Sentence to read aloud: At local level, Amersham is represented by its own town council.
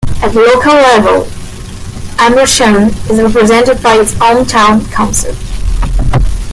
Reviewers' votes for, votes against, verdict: 1, 2, rejected